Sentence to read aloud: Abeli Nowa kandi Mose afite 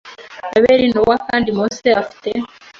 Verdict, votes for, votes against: accepted, 2, 0